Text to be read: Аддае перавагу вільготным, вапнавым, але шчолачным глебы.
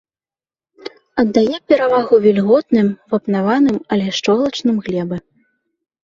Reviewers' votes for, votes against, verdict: 1, 2, rejected